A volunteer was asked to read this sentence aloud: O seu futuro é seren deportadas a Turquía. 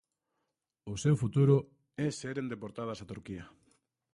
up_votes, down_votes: 1, 2